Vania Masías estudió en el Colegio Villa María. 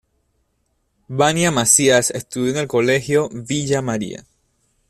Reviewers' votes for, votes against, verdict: 2, 0, accepted